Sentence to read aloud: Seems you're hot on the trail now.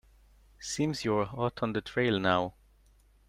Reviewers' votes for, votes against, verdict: 2, 0, accepted